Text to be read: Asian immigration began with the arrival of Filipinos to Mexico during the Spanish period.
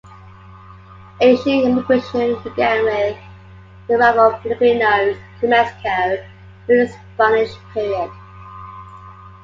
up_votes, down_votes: 2, 1